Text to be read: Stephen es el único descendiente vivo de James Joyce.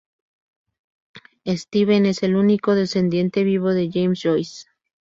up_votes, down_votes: 2, 0